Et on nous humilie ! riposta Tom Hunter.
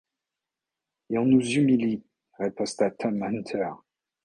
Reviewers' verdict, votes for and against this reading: rejected, 0, 2